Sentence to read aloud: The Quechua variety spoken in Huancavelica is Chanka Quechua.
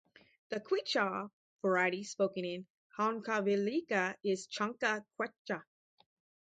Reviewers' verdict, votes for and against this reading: rejected, 0, 2